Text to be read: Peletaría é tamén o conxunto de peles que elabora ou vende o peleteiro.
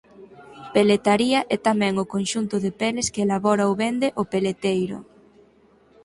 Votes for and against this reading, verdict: 0, 4, rejected